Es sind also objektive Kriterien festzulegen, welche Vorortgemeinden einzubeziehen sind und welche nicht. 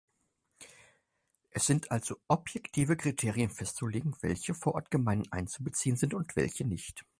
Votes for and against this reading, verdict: 4, 0, accepted